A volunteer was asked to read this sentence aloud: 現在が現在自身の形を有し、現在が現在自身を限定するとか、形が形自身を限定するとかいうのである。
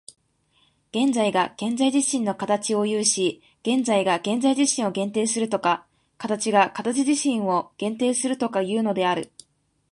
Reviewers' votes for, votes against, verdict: 2, 0, accepted